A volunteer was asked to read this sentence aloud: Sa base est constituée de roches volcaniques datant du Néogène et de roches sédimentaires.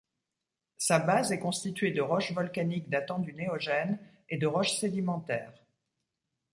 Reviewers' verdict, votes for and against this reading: accepted, 2, 0